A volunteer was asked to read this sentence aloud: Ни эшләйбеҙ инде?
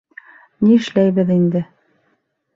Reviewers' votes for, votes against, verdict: 4, 0, accepted